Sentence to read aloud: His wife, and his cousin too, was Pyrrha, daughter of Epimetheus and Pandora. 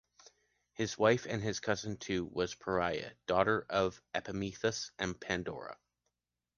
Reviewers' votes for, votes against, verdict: 2, 0, accepted